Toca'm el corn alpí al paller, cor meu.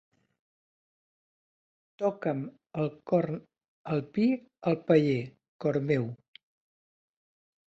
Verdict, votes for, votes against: accepted, 2, 0